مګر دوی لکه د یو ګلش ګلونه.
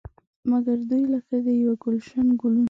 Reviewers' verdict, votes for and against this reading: accepted, 2, 0